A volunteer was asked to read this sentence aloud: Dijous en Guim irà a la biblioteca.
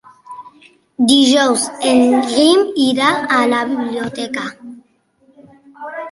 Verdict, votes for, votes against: accepted, 2, 1